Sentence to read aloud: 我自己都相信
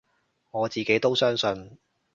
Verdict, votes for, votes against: accepted, 2, 0